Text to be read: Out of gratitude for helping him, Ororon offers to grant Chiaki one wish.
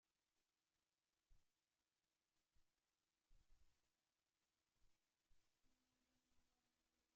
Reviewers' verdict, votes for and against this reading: rejected, 0, 2